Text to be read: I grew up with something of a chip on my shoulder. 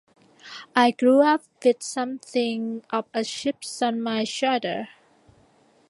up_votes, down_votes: 2, 1